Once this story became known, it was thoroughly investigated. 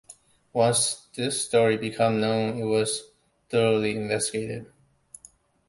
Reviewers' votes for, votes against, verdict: 0, 2, rejected